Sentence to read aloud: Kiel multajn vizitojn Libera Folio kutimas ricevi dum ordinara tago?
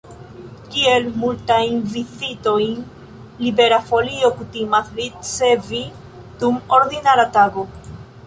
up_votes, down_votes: 0, 2